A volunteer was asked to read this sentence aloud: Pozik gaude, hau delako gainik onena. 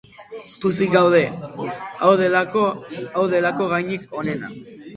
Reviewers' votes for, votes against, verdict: 0, 6, rejected